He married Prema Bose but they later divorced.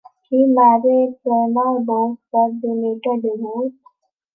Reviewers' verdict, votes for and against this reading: rejected, 0, 2